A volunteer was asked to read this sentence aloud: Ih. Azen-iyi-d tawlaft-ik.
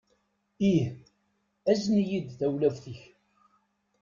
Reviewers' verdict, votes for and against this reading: accepted, 2, 0